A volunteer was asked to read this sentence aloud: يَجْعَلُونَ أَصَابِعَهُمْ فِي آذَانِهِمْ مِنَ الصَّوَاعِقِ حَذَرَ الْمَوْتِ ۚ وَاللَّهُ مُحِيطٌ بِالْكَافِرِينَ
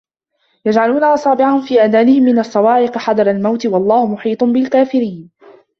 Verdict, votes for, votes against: rejected, 1, 2